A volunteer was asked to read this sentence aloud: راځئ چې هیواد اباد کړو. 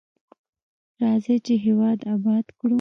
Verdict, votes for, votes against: rejected, 0, 2